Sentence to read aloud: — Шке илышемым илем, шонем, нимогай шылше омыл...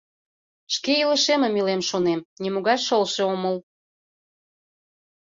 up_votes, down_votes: 2, 0